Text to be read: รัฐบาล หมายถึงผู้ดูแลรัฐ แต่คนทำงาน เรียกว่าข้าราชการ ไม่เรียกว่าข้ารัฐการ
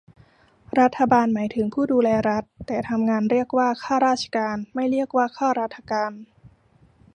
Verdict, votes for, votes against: rejected, 0, 2